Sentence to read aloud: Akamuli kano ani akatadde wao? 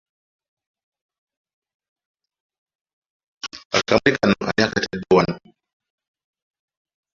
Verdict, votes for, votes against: rejected, 1, 2